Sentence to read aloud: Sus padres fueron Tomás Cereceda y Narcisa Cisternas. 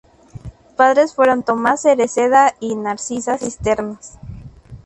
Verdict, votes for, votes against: accepted, 2, 0